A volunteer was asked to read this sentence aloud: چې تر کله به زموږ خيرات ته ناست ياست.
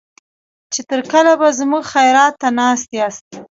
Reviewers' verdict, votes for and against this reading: accepted, 2, 0